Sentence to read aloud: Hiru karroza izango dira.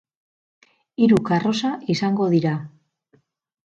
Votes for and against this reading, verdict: 0, 4, rejected